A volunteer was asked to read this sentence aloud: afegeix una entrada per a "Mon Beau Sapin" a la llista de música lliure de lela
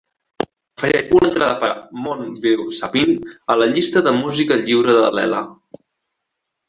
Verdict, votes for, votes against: rejected, 0, 4